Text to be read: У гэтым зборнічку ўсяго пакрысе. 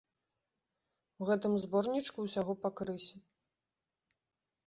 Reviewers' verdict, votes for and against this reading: rejected, 1, 2